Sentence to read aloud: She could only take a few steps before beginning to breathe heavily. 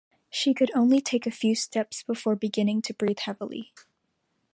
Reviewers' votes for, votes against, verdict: 2, 0, accepted